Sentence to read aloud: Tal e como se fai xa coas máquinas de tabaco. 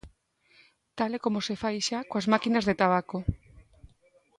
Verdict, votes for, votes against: accepted, 3, 0